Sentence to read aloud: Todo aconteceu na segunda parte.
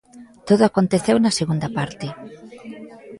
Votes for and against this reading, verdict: 2, 1, accepted